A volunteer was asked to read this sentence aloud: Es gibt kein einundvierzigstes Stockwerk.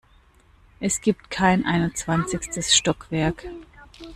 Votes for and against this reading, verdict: 0, 2, rejected